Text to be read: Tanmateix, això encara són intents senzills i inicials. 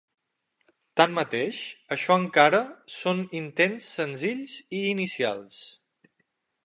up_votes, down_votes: 6, 0